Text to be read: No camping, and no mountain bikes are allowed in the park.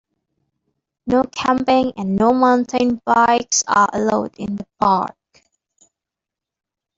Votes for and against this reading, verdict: 2, 1, accepted